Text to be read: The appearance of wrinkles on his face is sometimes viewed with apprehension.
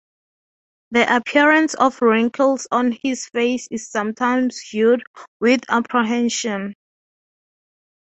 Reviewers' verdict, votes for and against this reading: accepted, 3, 0